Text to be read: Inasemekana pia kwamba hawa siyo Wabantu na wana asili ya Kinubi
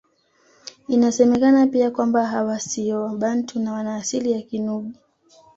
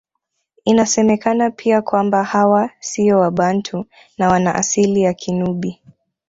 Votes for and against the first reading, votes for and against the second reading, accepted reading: 2, 0, 0, 2, first